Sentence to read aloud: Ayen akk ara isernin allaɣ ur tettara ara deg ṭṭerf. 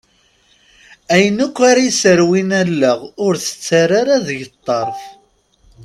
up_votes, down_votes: 1, 2